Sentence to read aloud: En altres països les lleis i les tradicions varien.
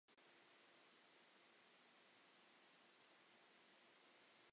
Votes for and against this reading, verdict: 1, 2, rejected